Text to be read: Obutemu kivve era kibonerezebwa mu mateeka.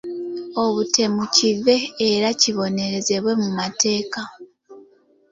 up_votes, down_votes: 0, 2